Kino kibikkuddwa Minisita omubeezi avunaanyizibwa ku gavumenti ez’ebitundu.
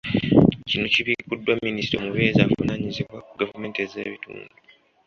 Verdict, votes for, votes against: accepted, 2, 0